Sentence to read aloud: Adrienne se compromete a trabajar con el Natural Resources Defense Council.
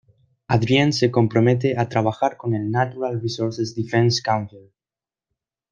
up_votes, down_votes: 2, 0